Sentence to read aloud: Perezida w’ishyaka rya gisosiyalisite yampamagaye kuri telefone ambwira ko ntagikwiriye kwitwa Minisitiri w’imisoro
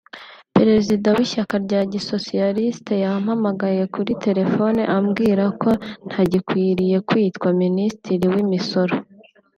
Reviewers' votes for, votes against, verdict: 3, 0, accepted